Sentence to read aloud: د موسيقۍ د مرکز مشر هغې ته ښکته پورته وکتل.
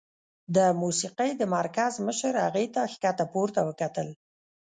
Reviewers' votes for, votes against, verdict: 0, 2, rejected